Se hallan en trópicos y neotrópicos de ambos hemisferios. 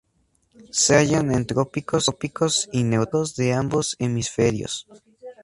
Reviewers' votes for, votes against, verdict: 0, 4, rejected